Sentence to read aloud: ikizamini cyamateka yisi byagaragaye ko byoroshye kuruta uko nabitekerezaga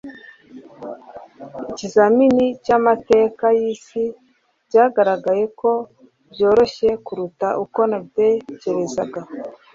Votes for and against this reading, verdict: 2, 0, accepted